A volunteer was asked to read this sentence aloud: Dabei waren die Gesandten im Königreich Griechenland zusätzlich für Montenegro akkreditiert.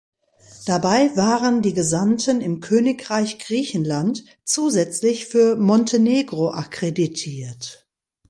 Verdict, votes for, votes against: accepted, 2, 0